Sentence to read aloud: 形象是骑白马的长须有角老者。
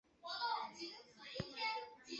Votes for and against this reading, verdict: 2, 3, rejected